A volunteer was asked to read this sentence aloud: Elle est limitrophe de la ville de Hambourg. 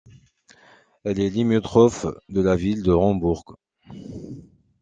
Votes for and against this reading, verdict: 0, 2, rejected